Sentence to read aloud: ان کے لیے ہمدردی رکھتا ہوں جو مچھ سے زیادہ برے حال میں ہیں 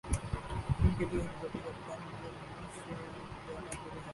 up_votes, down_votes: 0, 2